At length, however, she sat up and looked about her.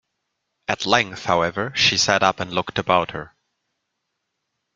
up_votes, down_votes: 2, 0